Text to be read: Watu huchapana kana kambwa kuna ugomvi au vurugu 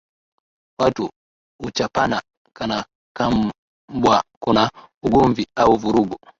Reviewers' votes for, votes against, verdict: 4, 11, rejected